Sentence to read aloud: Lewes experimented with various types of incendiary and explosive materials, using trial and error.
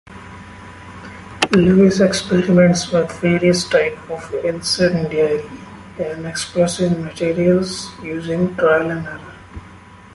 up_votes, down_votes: 1, 2